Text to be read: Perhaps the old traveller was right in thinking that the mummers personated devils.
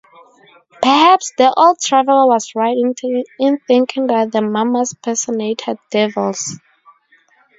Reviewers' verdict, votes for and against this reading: rejected, 0, 2